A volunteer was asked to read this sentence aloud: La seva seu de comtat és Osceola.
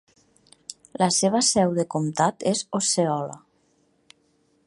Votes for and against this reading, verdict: 2, 0, accepted